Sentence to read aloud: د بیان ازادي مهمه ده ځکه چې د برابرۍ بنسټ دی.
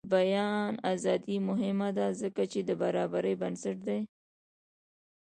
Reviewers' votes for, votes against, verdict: 0, 2, rejected